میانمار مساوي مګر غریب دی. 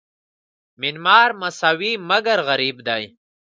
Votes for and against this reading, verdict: 2, 1, accepted